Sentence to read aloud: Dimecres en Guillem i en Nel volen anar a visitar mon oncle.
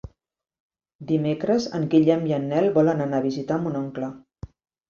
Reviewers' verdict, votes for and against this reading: accepted, 3, 0